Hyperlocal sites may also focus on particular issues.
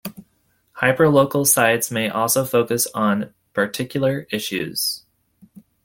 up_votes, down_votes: 2, 0